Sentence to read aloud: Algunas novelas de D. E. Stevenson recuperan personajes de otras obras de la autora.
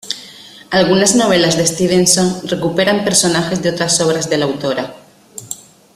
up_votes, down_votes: 1, 2